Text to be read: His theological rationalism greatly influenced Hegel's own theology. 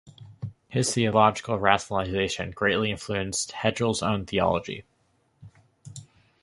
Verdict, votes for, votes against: rejected, 0, 2